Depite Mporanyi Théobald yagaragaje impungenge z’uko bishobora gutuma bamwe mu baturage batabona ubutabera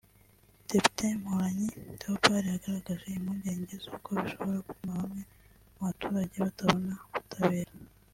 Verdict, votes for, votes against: accepted, 2, 1